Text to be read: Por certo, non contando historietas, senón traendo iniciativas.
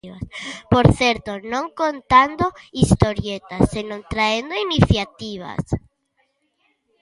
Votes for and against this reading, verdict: 1, 2, rejected